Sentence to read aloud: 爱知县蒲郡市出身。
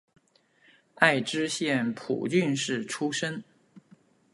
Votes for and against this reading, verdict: 2, 0, accepted